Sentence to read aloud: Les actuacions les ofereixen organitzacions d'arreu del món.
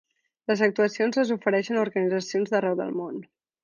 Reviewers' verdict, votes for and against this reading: accepted, 3, 0